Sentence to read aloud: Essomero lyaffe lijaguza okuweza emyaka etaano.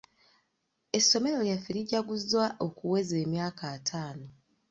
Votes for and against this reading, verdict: 1, 2, rejected